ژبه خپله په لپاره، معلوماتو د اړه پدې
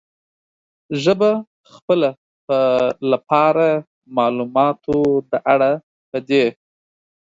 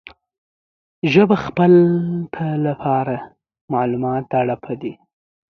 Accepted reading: first